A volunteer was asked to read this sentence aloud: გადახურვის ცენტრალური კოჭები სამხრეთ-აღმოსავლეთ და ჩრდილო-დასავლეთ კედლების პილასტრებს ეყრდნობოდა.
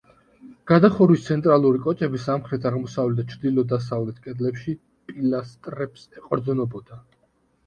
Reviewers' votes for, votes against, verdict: 1, 2, rejected